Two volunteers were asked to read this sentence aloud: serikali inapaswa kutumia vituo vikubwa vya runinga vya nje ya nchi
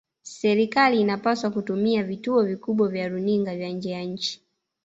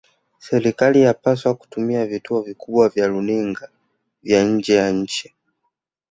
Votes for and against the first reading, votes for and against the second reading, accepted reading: 1, 2, 2, 0, second